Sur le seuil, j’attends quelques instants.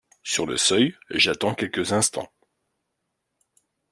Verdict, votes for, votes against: accepted, 2, 0